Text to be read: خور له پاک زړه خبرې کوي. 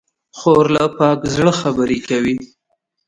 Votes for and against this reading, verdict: 0, 2, rejected